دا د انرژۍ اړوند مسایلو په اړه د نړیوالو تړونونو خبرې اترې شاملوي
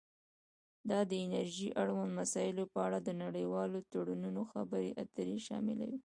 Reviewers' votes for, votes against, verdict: 2, 0, accepted